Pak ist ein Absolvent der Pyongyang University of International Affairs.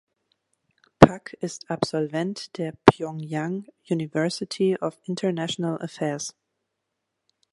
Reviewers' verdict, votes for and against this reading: rejected, 1, 2